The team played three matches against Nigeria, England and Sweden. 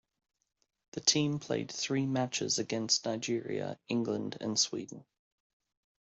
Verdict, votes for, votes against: accepted, 2, 0